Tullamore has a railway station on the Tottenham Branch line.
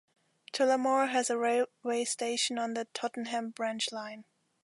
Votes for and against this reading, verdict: 1, 2, rejected